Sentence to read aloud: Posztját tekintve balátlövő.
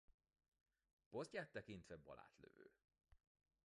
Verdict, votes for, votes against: rejected, 1, 2